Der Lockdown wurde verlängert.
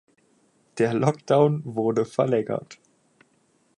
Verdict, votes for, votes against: accepted, 4, 0